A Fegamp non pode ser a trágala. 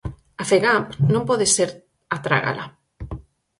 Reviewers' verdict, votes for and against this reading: accepted, 4, 0